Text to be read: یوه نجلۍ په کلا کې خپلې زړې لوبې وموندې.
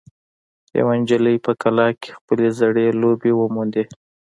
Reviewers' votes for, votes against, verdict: 2, 0, accepted